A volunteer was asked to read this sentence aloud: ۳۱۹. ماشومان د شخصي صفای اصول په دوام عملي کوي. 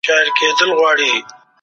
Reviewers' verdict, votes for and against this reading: rejected, 0, 2